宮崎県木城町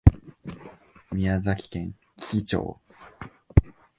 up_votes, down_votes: 1, 2